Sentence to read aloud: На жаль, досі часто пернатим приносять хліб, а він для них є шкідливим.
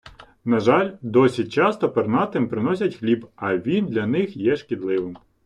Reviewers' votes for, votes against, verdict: 2, 0, accepted